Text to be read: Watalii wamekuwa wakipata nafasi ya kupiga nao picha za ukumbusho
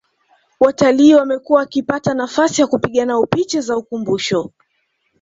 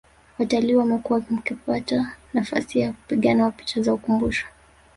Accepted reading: first